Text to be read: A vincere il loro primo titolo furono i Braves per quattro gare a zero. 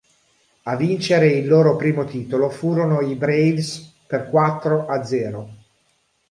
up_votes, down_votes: 0, 2